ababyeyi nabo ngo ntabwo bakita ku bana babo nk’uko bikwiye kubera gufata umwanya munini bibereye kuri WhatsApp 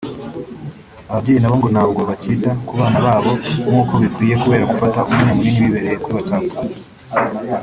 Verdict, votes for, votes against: rejected, 1, 2